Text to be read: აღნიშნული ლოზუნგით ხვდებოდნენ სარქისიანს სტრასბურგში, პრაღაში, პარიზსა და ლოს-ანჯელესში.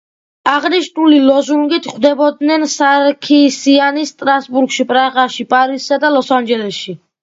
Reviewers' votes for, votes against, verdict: 2, 0, accepted